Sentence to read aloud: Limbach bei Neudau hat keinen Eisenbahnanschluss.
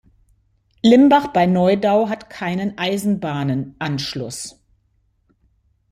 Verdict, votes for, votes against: rejected, 1, 2